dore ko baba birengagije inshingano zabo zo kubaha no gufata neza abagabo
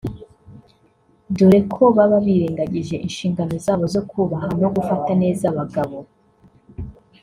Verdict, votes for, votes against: accepted, 2, 1